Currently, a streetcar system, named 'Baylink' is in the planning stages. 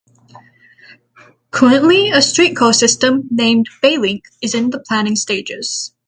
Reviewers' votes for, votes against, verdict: 3, 0, accepted